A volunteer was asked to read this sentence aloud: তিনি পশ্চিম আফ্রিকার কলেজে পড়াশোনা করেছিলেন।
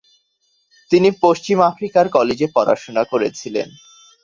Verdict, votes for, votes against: accepted, 2, 0